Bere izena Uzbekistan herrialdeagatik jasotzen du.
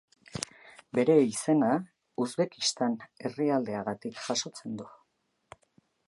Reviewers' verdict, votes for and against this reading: accepted, 3, 0